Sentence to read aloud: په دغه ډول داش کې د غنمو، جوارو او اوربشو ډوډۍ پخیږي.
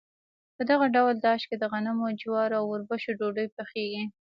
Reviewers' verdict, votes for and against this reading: rejected, 1, 2